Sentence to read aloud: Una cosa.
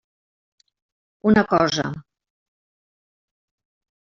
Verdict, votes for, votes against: accepted, 4, 0